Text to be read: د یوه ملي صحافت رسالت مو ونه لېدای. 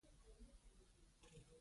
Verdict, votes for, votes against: rejected, 0, 2